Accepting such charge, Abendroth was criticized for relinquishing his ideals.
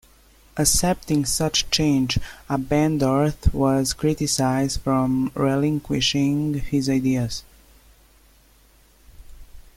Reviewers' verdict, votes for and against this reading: accepted, 2, 0